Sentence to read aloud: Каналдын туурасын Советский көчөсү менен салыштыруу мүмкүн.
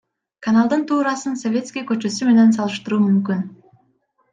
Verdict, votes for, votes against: accepted, 2, 1